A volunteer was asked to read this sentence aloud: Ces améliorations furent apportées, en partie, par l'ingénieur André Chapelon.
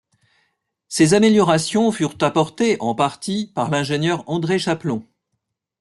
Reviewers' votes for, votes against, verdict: 2, 0, accepted